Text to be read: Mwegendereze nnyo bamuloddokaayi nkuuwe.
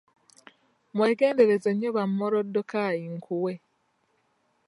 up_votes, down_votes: 1, 2